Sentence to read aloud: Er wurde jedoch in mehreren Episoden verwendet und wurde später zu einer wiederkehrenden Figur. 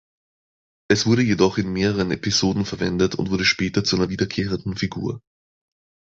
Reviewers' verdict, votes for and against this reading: rejected, 1, 3